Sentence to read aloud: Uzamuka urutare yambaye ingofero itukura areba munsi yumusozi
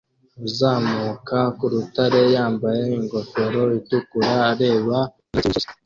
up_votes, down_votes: 0, 2